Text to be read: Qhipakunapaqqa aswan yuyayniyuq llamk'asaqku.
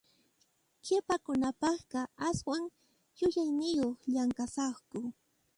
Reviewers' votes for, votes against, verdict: 0, 2, rejected